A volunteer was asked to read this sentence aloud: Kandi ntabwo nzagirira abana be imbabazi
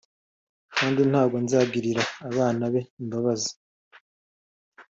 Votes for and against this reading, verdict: 2, 0, accepted